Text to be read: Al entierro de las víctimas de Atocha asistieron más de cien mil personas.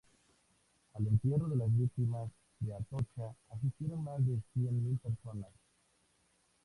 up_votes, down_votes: 2, 0